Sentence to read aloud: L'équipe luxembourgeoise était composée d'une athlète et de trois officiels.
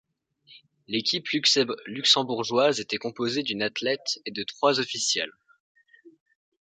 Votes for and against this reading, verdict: 1, 2, rejected